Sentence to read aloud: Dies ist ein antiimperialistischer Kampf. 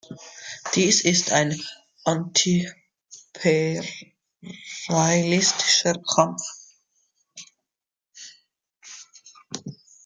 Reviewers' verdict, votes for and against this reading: rejected, 0, 2